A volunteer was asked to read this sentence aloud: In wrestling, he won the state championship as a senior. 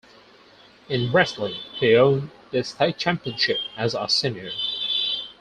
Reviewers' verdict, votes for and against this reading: rejected, 0, 4